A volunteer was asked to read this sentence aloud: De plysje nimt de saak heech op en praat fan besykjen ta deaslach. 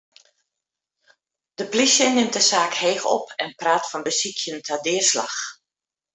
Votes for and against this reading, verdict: 2, 0, accepted